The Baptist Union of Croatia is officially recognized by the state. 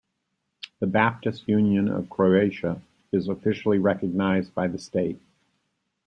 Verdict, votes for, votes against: rejected, 1, 2